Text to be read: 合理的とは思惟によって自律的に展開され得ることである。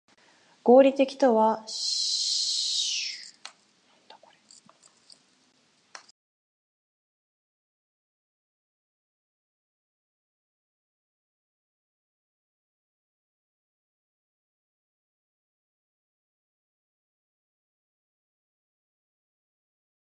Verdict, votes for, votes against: rejected, 0, 8